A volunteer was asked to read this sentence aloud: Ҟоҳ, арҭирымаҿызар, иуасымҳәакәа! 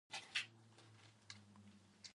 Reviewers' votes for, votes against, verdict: 1, 2, rejected